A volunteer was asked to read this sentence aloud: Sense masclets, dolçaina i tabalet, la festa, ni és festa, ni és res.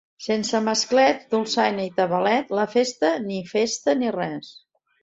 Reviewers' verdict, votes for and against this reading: rejected, 0, 2